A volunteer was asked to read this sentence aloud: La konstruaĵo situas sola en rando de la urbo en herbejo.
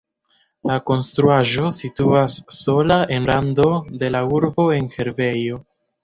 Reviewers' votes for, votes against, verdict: 1, 2, rejected